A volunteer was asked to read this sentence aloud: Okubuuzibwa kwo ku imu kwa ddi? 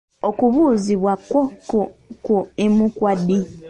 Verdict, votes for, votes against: rejected, 0, 2